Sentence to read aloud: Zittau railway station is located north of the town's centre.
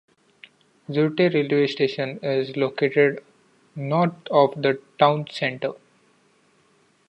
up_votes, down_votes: 0, 2